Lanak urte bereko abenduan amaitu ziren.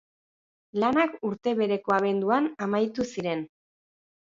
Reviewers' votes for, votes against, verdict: 2, 0, accepted